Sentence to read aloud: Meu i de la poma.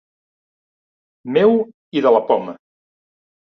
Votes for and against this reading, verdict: 2, 0, accepted